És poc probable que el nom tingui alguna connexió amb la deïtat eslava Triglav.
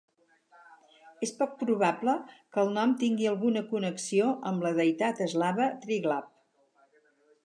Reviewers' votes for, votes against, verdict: 6, 0, accepted